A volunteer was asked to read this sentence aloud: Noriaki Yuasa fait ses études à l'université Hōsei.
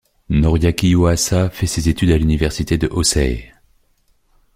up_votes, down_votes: 0, 2